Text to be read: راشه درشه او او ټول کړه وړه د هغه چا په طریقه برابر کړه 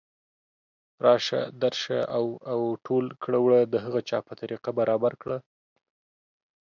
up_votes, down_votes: 2, 0